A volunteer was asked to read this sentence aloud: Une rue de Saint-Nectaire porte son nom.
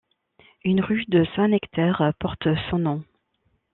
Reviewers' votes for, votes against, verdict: 1, 2, rejected